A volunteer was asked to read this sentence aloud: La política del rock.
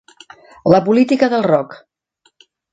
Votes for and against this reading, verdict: 3, 0, accepted